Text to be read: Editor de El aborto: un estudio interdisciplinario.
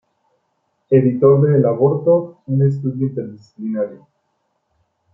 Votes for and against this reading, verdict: 2, 1, accepted